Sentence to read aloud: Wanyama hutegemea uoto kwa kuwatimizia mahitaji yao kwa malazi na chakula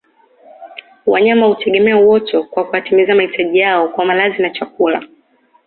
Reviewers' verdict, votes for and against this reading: accepted, 2, 0